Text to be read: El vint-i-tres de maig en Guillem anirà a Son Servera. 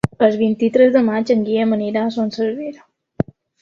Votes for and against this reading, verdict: 1, 2, rejected